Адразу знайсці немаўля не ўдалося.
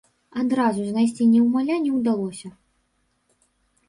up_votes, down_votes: 0, 2